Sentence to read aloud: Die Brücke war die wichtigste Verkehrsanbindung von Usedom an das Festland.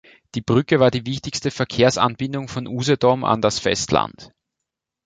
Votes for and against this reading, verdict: 3, 0, accepted